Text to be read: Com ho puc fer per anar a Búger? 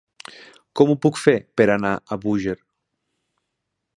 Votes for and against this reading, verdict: 6, 0, accepted